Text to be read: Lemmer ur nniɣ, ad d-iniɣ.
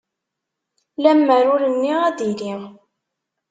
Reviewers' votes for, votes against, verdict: 1, 2, rejected